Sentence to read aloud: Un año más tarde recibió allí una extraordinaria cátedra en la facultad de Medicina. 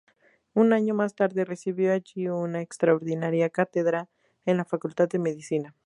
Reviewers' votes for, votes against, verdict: 2, 0, accepted